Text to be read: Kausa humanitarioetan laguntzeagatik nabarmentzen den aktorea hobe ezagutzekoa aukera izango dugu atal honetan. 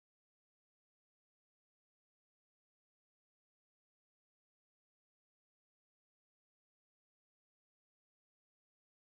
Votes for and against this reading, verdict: 0, 2, rejected